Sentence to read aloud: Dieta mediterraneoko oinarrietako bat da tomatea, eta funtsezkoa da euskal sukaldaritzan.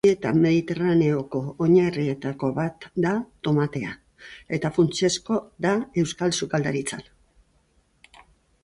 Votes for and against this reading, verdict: 0, 2, rejected